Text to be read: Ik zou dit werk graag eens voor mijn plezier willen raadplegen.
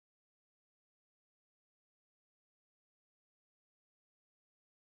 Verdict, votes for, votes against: rejected, 0, 2